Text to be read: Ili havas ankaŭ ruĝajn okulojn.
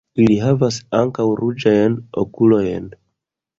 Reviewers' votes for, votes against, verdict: 2, 0, accepted